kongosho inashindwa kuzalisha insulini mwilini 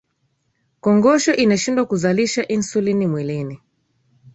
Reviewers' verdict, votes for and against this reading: accepted, 2, 0